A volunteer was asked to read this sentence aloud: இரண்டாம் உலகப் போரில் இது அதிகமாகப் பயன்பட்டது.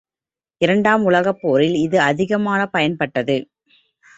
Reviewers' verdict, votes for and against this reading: accepted, 3, 0